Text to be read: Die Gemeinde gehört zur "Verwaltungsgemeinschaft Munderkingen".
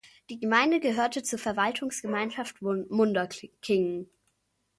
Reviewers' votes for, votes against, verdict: 0, 2, rejected